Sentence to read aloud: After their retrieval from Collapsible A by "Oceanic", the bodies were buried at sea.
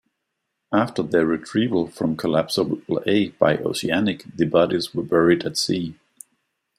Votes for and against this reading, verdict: 2, 0, accepted